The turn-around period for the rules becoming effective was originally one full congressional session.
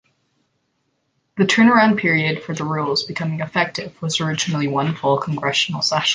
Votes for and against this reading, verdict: 2, 1, accepted